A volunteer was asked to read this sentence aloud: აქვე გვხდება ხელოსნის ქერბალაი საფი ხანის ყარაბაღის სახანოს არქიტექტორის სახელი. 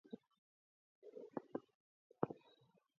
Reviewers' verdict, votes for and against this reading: rejected, 0, 3